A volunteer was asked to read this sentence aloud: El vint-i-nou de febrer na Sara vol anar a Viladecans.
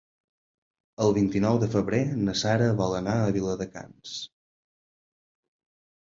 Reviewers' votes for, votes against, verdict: 4, 0, accepted